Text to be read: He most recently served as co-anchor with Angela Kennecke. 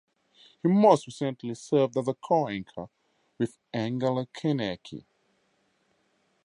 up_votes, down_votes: 0, 4